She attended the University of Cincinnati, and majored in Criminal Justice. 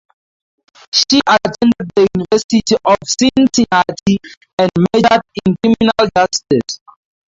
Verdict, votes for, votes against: accepted, 4, 0